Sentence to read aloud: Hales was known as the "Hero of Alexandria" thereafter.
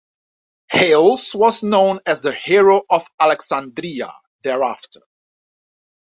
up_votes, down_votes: 2, 0